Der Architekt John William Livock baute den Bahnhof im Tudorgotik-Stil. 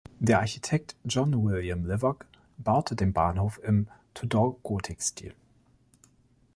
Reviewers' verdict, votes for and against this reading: rejected, 1, 2